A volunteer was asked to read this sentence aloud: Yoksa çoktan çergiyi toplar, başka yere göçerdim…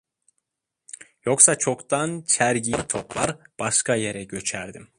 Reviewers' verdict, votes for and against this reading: accepted, 2, 0